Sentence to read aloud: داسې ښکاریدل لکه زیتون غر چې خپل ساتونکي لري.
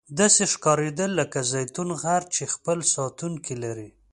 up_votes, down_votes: 2, 0